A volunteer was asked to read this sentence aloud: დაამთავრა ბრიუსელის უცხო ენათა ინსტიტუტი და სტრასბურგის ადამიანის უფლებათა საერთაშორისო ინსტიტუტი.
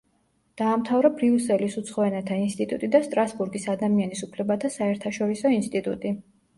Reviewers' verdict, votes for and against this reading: rejected, 1, 2